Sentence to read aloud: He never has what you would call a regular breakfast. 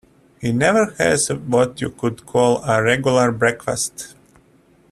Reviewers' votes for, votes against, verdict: 0, 2, rejected